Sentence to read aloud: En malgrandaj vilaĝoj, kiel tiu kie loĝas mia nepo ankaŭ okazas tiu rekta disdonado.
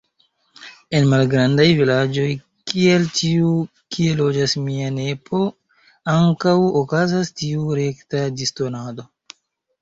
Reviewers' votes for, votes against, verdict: 0, 2, rejected